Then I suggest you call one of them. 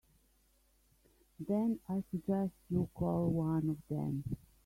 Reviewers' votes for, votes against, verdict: 3, 0, accepted